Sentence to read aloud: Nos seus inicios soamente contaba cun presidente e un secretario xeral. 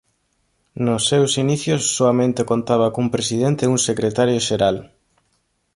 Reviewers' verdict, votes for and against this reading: accepted, 2, 0